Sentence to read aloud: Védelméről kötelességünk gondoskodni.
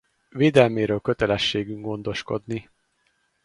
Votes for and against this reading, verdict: 4, 0, accepted